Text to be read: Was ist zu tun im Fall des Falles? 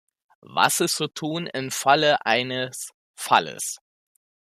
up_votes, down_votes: 0, 2